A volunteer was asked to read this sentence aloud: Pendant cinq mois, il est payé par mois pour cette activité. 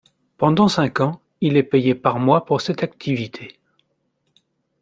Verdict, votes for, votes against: rejected, 1, 2